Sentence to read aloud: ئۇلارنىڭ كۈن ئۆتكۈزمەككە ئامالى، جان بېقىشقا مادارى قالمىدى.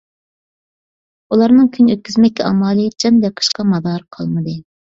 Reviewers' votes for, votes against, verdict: 2, 0, accepted